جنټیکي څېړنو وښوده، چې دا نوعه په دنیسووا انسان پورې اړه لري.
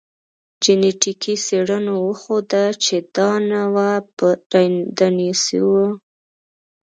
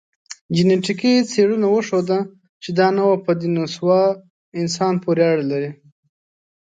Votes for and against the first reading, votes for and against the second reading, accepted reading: 0, 2, 2, 0, second